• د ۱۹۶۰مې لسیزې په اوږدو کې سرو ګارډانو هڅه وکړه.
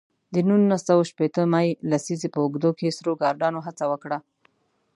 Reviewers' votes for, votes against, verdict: 0, 2, rejected